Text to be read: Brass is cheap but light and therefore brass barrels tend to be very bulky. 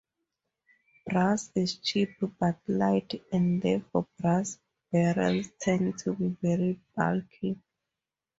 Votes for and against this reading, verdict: 2, 0, accepted